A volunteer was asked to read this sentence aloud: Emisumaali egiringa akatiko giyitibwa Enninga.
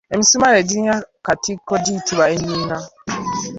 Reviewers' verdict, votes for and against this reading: rejected, 1, 2